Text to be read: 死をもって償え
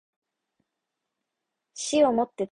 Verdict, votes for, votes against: rejected, 1, 2